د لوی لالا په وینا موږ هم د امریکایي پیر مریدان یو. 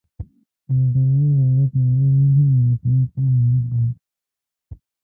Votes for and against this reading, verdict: 1, 2, rejected